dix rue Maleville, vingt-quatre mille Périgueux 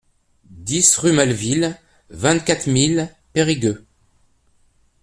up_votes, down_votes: 2, 0